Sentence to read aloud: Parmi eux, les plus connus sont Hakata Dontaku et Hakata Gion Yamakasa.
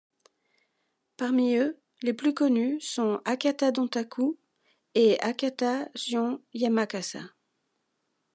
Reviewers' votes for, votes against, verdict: 2, 0, accepted